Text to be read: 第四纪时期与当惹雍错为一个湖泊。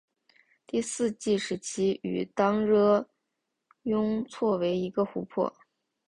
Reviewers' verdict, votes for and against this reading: accepted, 6, 1